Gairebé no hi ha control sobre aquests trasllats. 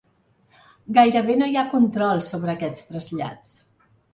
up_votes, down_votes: 3, 0